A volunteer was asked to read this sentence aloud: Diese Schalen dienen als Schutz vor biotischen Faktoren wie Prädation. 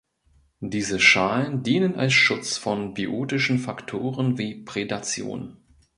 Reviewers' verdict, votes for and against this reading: rejected, 0, 2